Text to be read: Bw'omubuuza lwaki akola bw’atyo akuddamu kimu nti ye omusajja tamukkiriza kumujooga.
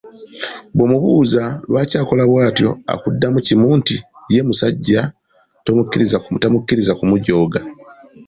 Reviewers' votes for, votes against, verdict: 2, 1, accepted